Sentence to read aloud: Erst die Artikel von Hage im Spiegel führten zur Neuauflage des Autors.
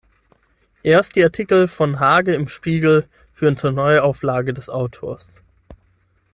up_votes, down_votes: 0, 6